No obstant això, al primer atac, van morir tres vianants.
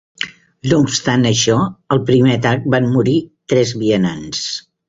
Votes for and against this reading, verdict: 2, 0, accepted